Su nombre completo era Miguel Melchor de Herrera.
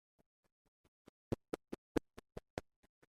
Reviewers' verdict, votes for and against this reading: rejected, 0, 2